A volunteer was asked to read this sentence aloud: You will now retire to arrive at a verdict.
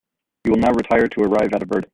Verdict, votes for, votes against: rejected, 1, 2